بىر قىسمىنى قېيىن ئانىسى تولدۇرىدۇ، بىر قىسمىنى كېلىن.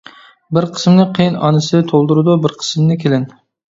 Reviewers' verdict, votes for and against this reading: rejected, 1, 2